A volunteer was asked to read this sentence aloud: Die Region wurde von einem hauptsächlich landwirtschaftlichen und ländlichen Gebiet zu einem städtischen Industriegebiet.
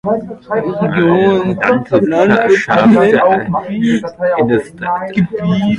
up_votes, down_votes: 0, 2